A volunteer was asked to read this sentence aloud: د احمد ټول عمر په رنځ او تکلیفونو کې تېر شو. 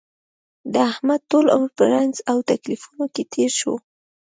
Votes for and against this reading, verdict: 2, 1, accepted